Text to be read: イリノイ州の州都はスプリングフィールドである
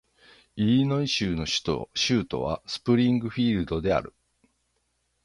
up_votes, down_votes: 3, 3